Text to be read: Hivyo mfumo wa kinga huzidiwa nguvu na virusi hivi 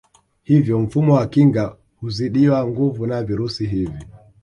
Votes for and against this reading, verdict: 2, 0, accepted